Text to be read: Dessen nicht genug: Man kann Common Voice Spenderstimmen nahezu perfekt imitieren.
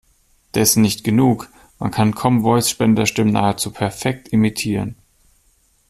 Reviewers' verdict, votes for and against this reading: rejected, 1, 2